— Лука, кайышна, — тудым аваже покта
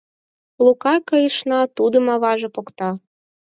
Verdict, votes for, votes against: accepted, 4, 0